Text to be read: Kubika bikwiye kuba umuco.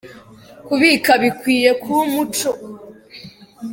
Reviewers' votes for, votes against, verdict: 2, 0, accepted